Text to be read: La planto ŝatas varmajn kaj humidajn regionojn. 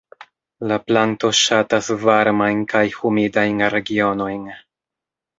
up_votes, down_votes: 1, 2